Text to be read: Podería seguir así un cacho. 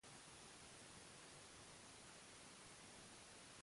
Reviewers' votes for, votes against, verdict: 0, 2, rejected